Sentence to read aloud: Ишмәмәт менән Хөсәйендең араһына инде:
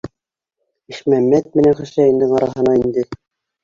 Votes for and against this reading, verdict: 2, 1, accepted